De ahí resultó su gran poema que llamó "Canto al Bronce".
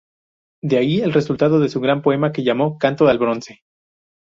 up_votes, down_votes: 0, 2